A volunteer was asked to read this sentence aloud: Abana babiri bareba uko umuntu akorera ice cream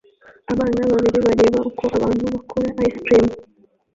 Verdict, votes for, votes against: rejected, 0, 2